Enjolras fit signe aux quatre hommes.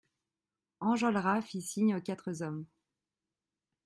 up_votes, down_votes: 1, 2